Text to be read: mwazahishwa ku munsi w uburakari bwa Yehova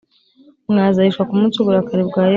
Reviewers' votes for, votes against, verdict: 1, 3, rejected